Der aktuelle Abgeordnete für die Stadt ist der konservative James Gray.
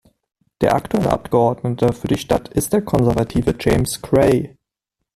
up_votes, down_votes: 0, 2